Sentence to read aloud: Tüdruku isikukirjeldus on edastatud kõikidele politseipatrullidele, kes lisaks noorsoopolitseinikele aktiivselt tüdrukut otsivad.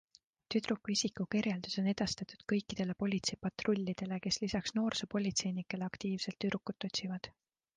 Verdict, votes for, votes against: accepted, 2, 0